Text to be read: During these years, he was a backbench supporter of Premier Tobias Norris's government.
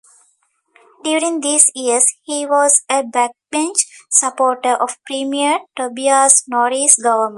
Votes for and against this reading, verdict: 0, 2, rejected